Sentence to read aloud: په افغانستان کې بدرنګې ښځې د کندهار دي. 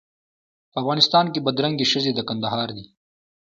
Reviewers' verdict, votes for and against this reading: rejected, 1, 2